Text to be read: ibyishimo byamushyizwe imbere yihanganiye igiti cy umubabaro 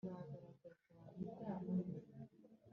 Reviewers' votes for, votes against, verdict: 1, 2, rejected